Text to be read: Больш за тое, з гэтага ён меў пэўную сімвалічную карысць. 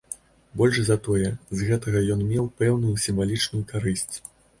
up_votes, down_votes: 2, 0